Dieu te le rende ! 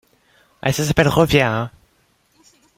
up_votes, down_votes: 0, 2